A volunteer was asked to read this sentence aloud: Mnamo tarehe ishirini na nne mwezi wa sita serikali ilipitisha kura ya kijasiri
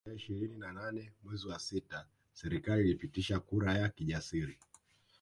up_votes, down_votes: 1, 2